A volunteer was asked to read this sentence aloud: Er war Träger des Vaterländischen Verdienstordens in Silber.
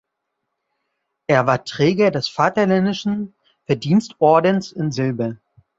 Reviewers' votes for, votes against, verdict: 1, 2, rejected